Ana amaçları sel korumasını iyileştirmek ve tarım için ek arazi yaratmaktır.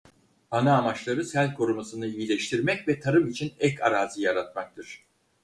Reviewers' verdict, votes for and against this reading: accepted, 4, 0